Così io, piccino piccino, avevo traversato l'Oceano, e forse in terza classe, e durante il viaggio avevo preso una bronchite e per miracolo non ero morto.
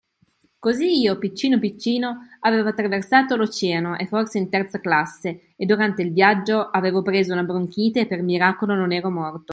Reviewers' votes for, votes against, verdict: 2, 0, accepted